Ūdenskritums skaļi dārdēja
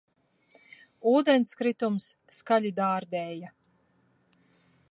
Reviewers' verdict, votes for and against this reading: accepted, 2, 0